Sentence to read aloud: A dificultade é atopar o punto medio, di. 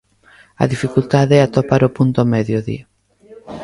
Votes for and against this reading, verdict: 0, 2, rejected